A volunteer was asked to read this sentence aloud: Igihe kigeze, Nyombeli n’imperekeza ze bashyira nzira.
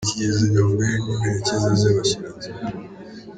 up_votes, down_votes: 0, 2